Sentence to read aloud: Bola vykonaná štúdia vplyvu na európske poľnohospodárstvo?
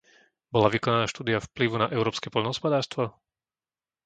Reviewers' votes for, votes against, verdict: 2, 0, accepted